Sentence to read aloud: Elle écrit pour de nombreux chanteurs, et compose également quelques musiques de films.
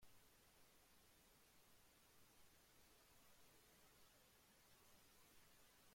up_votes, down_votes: 0, 2